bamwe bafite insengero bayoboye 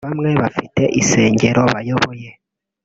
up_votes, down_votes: 1, 2